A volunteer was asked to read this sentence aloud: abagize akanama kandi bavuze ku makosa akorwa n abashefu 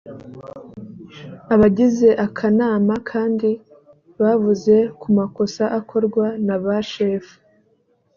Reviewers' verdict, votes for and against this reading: accepted, 3, 0